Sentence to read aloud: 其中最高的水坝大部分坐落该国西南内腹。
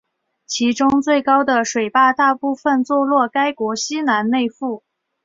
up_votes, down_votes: 2, 0